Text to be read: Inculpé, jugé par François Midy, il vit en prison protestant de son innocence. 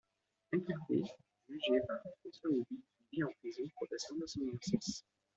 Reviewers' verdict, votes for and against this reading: rejected, 0, 2